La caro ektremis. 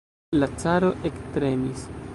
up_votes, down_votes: 2, 0